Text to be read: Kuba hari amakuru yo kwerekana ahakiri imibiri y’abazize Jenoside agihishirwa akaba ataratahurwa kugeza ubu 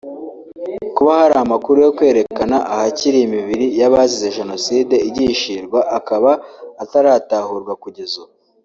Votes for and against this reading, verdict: 0, 2, rejected